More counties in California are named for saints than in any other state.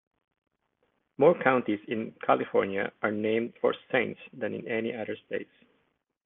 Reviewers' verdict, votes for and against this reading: accepted, 2, 0